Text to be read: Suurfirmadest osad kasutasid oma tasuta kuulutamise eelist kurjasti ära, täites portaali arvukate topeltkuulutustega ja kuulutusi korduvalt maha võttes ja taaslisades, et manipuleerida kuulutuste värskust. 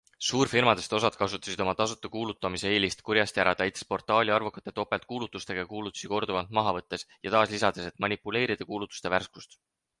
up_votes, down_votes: 0, 4